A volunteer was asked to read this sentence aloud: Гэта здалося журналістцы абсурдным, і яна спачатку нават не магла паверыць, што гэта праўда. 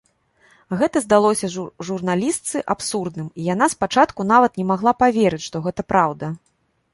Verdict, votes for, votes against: rejected, 1, 2